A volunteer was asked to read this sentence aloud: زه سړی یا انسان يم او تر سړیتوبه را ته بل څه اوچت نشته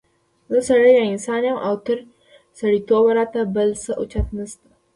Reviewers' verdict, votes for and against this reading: rejected, 0, 2